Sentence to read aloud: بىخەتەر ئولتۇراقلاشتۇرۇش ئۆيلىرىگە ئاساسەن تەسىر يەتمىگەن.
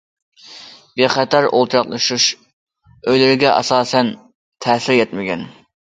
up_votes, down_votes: 1, 2